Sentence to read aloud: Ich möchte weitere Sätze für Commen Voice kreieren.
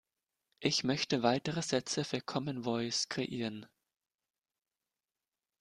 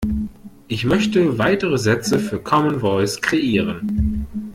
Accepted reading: second